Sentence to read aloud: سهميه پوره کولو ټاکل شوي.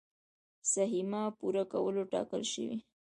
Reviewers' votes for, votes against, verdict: 2, 0, accepted